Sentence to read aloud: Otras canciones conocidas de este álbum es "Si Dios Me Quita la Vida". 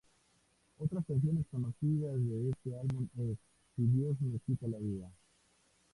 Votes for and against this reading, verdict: 2, 2, rejected